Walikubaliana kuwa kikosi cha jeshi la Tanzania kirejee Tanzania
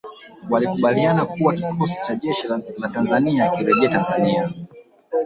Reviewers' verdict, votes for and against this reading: rejected, 0, 2